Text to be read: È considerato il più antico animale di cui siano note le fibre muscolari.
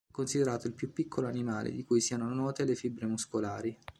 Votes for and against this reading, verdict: 0, 2, rejected